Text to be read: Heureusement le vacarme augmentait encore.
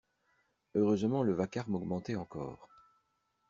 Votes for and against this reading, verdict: 2, 0, accepted